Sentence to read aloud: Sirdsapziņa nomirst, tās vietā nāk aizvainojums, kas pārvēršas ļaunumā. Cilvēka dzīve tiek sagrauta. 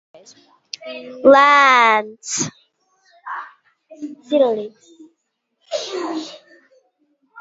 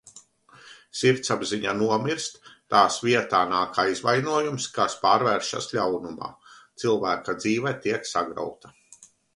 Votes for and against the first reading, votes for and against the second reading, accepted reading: 0, 2, 2, 1, second